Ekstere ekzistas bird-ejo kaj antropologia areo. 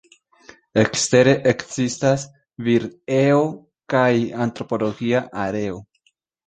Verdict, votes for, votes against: rejected, 0, 2